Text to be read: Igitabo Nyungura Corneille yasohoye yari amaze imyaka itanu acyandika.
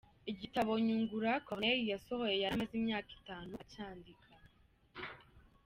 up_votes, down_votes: 2, 0